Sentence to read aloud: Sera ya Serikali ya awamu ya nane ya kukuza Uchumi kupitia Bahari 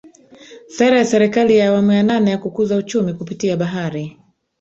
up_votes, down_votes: 1, 2